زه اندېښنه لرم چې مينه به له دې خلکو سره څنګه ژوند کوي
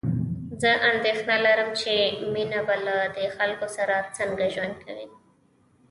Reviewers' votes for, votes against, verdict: 1, 2, rejected